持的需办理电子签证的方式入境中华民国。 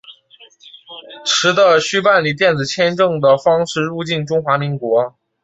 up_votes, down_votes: 4, 0